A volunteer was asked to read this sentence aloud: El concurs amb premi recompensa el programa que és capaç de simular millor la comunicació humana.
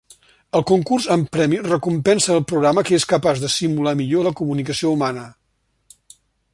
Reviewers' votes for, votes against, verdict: 2, 0, accepted